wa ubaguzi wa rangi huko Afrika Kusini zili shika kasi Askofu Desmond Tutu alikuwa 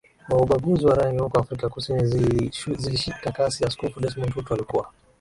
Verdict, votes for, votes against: accepted, 4, 3